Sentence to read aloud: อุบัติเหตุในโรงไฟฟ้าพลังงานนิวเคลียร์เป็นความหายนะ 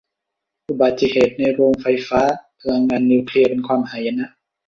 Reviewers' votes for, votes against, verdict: 2, 1, accepted